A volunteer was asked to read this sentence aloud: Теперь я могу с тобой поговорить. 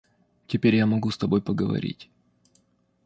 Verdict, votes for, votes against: accepted, 2, 0